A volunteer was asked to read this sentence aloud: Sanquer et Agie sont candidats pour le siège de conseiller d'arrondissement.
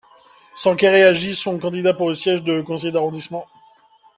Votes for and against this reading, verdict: 2, 0, accepted